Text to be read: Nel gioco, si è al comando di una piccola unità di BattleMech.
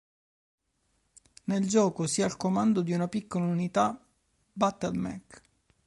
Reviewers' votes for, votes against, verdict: 0, 2, rejected